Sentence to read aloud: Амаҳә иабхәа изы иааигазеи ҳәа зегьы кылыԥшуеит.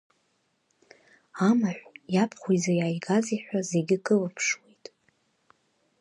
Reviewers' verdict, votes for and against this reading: accepted, 3, 0